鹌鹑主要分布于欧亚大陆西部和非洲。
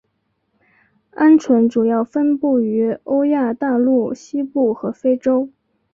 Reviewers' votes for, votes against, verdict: 1, 2, rejected